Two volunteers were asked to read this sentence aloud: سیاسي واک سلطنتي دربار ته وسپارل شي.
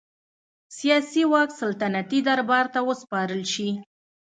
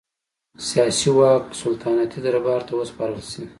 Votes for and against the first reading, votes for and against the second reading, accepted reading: 2, 0, 1, 2, first